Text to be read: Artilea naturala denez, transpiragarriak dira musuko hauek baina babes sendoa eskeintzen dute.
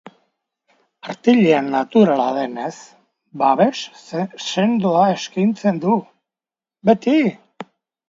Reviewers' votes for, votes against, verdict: 0, 2, rejected